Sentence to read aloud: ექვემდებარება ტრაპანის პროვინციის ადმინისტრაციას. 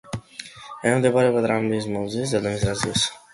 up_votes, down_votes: 0, 2